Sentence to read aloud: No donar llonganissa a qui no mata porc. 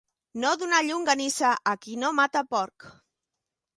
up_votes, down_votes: 2, 0